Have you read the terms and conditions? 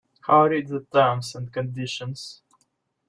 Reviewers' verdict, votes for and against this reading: rejected, 1, 2